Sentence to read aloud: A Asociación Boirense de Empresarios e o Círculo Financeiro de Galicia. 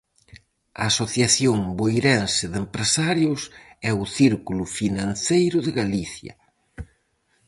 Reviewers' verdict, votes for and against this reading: accepted, 4, 0